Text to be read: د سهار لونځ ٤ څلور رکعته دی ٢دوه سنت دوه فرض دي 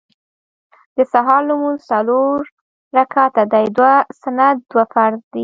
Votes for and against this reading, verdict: 0, 2, rejected